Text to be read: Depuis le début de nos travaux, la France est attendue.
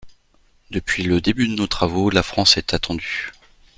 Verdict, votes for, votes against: accepted, 2, 0